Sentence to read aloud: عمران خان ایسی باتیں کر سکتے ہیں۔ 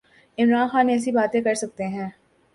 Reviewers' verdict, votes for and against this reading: accepted, 2, 0